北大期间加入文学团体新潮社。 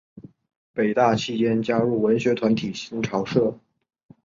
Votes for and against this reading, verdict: 2, 0, accepted